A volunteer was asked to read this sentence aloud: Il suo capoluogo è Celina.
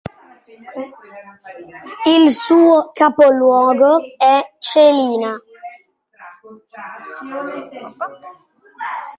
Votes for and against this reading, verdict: 2, 1, accepted